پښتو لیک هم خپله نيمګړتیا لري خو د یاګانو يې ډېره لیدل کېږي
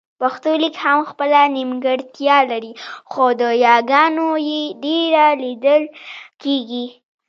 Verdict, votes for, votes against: rejected, 1, 2